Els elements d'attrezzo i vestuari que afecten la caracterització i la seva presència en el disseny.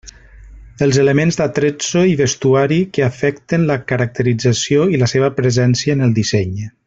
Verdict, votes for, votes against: accepted, 2, 0